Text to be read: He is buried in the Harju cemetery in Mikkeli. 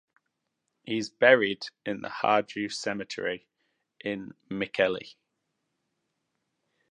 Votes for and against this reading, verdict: 2, 0, accepted